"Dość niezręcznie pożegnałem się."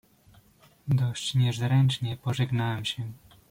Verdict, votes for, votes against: accepted, 2, 0